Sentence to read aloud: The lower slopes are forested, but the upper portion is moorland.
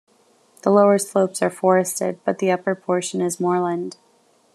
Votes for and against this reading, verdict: 2, 0, accepted